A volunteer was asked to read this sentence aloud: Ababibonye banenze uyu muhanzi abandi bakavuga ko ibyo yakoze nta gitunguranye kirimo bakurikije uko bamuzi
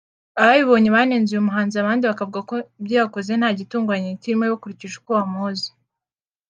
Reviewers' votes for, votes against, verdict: 2, 0, accepted